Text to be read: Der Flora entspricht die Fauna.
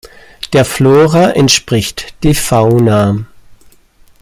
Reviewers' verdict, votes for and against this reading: accepted, 2, 0